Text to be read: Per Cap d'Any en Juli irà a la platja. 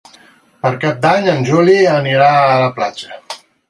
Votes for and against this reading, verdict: 0, 4, rejected